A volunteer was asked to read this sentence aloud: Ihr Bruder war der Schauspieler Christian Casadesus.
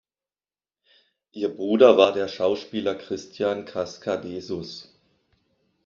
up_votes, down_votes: 1, 2